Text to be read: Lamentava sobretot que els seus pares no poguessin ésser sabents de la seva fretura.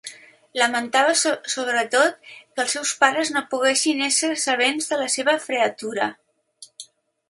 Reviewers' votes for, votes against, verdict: 0, 2, rejected